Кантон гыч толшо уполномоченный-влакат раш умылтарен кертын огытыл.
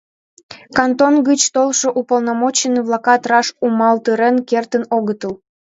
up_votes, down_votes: 1, 2